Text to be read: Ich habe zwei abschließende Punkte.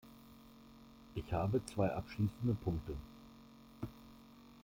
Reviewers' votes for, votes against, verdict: 2, 0, accepted